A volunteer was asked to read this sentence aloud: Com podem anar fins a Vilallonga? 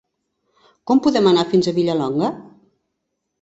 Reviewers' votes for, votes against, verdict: 2, 1, accepted